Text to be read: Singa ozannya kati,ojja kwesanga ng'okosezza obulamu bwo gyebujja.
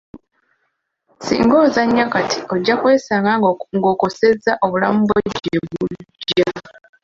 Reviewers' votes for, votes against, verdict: 0, 2, rejected